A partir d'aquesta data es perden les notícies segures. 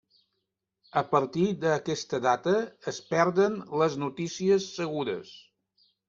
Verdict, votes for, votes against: accepted, 3, 0